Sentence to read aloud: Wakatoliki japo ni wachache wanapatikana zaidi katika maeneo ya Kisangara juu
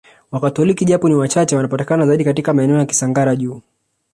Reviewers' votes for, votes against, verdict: 1, 2, rejected